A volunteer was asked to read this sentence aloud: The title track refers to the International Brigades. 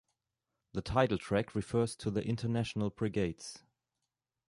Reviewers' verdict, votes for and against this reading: accepted, 2, 0